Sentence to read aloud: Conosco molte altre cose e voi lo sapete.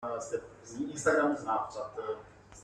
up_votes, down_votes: 0, 2